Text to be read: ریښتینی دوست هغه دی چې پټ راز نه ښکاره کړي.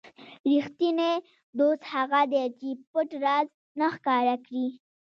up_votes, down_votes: 1, 2